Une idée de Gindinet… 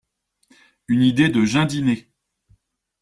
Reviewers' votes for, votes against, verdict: 2, 0, accepted